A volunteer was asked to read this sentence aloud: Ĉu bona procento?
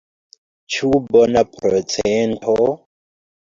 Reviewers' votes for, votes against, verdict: 2, 0, accepted